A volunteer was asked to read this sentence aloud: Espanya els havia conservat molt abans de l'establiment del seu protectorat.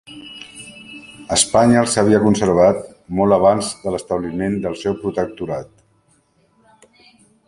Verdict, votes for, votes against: rejected, 0, 2